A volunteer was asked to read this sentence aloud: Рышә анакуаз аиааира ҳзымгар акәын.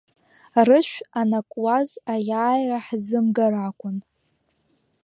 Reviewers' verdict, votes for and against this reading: accepted, 2, 0